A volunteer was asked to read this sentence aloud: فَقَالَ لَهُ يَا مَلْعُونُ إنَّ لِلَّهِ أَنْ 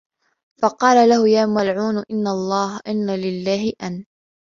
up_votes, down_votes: 1, 2